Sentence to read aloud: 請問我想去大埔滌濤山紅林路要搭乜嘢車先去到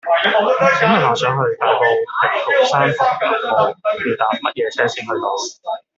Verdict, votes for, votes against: rejected, 1, 2